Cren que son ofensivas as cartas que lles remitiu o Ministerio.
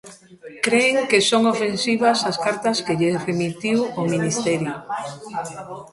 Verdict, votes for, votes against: rejected, 1, 2